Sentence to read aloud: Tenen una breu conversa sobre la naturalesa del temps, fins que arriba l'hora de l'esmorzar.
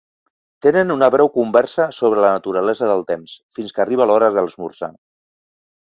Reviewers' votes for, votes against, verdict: 1, 2, rejected